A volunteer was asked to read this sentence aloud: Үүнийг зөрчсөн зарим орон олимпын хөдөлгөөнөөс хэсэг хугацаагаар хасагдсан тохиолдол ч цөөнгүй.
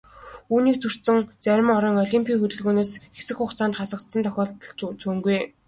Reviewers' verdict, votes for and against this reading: accepted, 2, 1